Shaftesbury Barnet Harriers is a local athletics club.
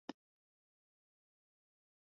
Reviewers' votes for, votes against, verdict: 0, 2, rejected